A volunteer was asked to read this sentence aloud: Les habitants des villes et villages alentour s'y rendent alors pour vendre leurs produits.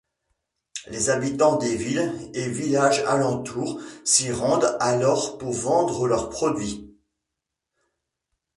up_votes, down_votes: 1, 2